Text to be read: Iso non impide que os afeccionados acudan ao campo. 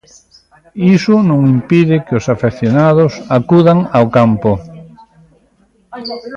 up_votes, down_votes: 1, 2